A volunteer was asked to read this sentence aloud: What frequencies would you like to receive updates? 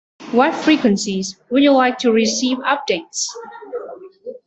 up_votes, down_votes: 2, 0